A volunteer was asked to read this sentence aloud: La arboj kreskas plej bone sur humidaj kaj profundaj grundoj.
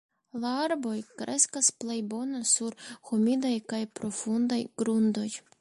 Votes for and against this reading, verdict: 0, 2, rejected